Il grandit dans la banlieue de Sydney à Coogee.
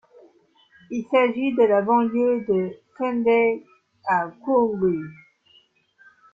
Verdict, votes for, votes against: rejected, 0, 2